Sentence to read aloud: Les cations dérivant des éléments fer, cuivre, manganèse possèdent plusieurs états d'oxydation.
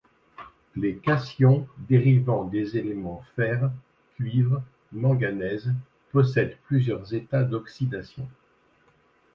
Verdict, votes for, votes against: rejected, 1, 2